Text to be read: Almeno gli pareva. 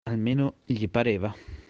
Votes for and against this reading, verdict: 2, 1, accepted